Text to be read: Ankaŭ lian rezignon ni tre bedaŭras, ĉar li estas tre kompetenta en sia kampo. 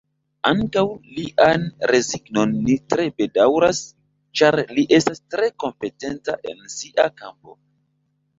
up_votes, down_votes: 1, 2